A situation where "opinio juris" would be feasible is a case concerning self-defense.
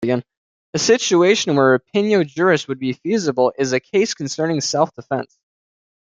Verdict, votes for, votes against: rejected, 1, 2